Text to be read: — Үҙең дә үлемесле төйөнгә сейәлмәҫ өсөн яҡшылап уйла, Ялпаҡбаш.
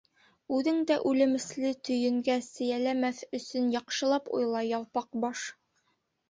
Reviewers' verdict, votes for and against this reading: rejected, 1, 2